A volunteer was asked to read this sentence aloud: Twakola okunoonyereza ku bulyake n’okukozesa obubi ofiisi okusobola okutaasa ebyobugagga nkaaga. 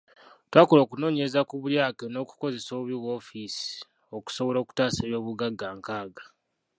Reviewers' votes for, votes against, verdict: 1, 2, rejected